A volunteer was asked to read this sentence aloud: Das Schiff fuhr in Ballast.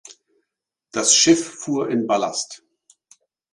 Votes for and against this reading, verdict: 4, 0, accepted